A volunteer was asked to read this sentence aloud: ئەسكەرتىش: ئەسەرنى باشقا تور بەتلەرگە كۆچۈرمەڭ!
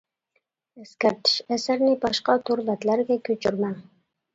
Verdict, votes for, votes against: accepted, 2, 0